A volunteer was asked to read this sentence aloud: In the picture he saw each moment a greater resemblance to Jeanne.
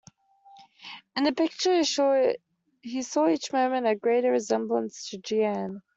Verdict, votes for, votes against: rejected, 0, 2